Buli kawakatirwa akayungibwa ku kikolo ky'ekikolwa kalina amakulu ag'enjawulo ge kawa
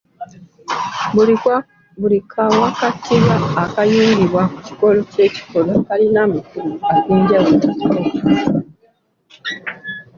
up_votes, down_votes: 2, 0